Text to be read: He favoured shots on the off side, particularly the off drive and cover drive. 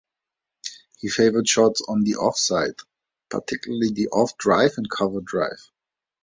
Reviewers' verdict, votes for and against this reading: accepted, 2, 0